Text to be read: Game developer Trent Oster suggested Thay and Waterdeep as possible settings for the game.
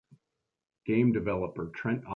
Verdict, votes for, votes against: rejected, 1, 2